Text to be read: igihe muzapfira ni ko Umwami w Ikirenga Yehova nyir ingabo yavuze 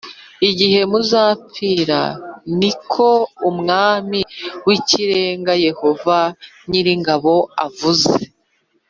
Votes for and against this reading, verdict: 1, 2, rejected